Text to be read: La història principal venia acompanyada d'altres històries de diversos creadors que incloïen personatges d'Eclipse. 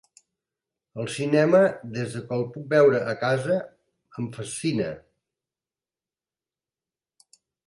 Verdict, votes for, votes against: rejected, 0, 3